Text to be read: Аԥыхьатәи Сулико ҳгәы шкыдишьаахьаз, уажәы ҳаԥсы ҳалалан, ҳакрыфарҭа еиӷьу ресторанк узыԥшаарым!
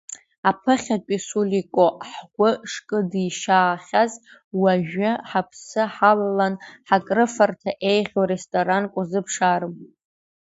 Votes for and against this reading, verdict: 2, 0, accepted